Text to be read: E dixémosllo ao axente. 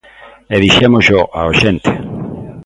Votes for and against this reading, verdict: 2, 0, accepted